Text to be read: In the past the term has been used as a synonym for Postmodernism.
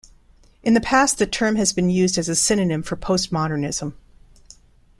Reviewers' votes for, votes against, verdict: 2, 0, accepted